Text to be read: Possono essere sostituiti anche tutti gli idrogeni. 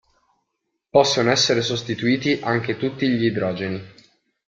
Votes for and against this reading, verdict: 2, 0, accepted